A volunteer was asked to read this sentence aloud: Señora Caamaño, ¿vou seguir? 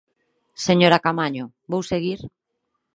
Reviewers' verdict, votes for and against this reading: accepted, 36, 0